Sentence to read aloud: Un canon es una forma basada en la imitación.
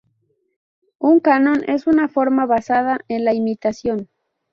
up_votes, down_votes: 0, 2